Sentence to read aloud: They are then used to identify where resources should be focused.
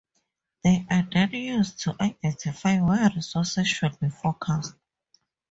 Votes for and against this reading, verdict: 2, 2, rejected